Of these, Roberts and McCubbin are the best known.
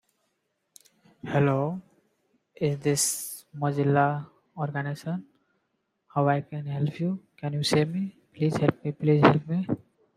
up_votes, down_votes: 0, 2